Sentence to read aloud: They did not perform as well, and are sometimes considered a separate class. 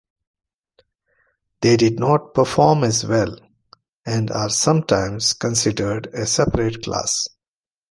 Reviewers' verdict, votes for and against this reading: accepted, 2, 0